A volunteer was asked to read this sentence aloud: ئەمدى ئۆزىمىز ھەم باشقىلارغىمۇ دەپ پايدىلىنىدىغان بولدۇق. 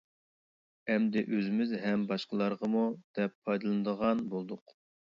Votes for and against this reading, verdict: 2, 0, accepted